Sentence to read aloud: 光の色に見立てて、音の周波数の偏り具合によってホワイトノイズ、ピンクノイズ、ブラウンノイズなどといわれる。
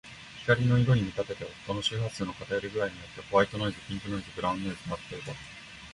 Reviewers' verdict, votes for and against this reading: accepted, 3, 0